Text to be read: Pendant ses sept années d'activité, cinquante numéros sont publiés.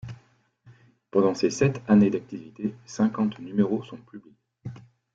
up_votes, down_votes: 1, 2